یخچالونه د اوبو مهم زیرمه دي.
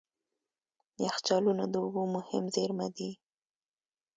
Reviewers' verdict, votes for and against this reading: accepted, 3, 0